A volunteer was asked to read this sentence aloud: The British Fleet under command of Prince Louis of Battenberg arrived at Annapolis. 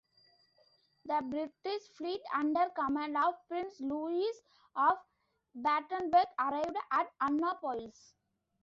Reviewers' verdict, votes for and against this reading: rejected, 0, 2